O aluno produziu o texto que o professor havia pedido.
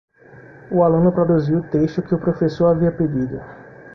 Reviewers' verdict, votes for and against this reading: accepted, 2, 0